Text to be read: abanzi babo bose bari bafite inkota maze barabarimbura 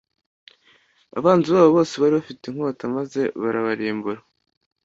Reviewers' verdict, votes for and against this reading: accepted, 2, 0